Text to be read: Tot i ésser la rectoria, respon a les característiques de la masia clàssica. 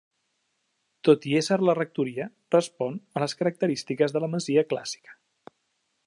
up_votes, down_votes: 3, 0